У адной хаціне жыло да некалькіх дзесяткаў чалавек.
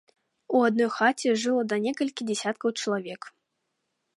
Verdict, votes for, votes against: rejected, 0, 3